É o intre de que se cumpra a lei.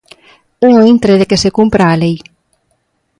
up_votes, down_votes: 0, 2